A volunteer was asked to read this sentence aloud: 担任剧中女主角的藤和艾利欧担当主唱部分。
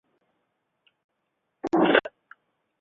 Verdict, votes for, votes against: rejected, 0, 2